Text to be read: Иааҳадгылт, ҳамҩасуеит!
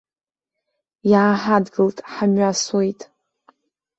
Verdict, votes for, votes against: rejected, 0, 2